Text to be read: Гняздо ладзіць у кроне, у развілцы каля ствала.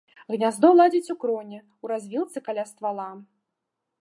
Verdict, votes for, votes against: accepted, 2, 0